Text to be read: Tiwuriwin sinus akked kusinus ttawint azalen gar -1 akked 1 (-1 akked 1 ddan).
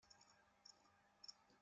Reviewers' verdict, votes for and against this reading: rejected, 0, 2